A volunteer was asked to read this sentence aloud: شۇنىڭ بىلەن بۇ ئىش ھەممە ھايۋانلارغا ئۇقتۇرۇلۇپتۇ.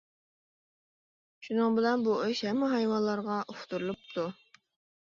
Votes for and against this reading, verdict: 2, 0, accepted